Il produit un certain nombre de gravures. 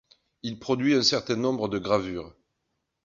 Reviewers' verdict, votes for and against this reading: accepted, 2, 0